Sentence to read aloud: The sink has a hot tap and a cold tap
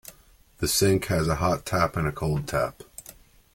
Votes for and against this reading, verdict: 2, 0, accepted